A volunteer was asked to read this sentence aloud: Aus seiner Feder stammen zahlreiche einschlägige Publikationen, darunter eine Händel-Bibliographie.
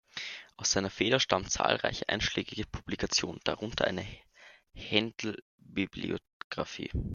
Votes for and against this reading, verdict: 1, 2, rejected